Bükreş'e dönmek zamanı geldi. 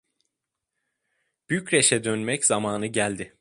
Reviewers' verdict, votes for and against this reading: accepted, 2, 0